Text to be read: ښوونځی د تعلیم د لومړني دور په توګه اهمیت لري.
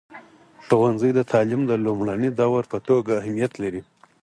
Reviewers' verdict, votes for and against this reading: accepted, 4, 0